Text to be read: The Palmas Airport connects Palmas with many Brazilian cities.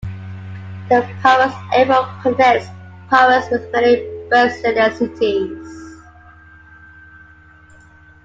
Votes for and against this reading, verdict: 2, 0, accepted